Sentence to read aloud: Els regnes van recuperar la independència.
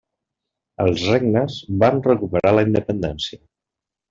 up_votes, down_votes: 3, 0